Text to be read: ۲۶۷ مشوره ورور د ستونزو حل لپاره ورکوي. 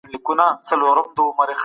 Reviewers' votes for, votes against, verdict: 0, 2, rejected